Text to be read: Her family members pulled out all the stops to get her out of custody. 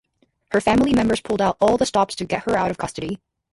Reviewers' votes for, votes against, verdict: 4, 6, rejected